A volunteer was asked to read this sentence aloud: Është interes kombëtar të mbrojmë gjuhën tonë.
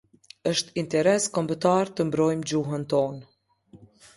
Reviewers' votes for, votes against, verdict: 2, 0, accepted